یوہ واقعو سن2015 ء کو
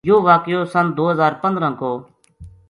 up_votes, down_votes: 0, 2